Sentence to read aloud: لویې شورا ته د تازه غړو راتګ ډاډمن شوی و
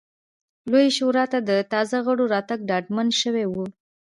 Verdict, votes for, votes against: accepted, 2, 0